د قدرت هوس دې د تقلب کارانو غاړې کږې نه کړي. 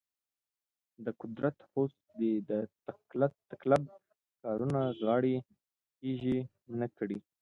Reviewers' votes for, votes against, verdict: 1, 2, rejected